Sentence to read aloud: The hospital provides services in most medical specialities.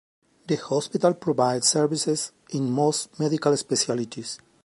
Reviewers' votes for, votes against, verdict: 2, 0, accepted